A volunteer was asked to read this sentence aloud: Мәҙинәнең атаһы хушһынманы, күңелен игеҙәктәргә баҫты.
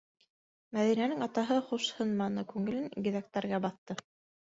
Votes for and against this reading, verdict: 2, 0, accepted